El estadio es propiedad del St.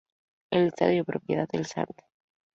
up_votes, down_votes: 0, 2